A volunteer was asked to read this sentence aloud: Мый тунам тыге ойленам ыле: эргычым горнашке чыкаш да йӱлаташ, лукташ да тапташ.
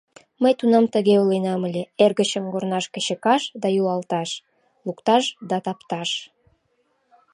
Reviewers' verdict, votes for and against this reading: rejected, 1, 2